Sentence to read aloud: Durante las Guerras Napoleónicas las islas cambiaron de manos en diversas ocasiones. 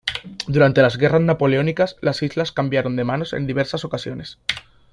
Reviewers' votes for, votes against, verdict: 2, 1, accepted